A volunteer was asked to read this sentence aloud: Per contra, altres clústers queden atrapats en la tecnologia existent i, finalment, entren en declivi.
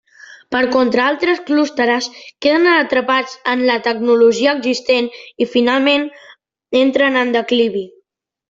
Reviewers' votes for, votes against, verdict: 0, 2, rejected